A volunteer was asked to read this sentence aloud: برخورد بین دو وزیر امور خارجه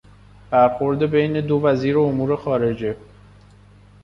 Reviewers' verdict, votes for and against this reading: accepted, 2, 0